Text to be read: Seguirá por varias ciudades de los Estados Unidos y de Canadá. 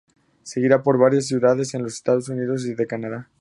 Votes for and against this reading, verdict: 0, 2, rejected